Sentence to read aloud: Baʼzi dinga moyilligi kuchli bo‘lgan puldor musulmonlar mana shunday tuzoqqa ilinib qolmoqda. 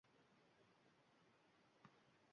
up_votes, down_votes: 0, 2